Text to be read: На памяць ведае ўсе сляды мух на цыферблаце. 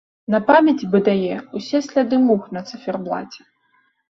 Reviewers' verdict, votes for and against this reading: rejected, 0, 2